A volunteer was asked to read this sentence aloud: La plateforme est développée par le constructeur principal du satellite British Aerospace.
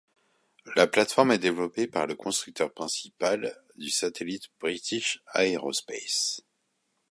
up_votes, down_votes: 2, 0